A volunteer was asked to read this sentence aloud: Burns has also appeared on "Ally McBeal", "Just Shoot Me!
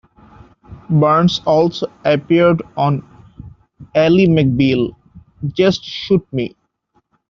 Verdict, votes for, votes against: rejected, 0, 2